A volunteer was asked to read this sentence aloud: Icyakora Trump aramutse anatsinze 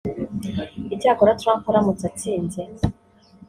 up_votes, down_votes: 0, 2